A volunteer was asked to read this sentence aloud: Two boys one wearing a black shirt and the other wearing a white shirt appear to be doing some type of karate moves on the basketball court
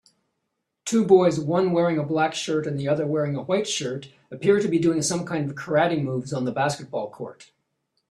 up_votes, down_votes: 0, 2